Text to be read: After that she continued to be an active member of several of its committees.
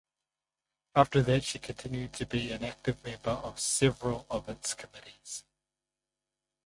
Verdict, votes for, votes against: rejected, 0, 2